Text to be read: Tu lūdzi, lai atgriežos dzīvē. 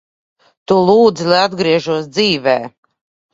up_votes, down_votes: 2, 0